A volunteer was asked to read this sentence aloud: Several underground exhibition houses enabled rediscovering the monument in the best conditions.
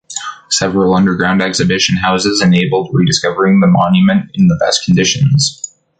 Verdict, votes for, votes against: accepted, 2, 0